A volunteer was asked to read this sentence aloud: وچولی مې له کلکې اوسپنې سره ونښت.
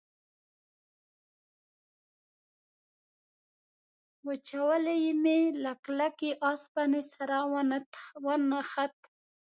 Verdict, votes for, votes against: rejected, 0, 2